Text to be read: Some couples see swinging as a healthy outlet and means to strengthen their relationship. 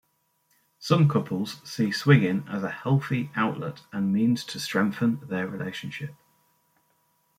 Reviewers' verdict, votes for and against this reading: accepted, 2, 0